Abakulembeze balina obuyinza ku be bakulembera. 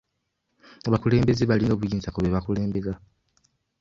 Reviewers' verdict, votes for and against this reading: rejected, 0, 2